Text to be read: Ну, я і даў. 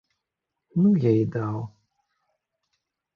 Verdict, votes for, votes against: accepted, 2, 0